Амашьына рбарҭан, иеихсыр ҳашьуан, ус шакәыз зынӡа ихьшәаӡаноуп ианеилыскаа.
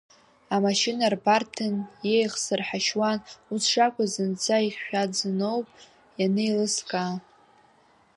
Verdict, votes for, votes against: accepted, 2, 0